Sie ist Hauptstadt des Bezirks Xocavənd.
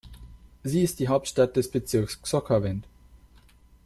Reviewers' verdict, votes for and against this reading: rejected, 1, 2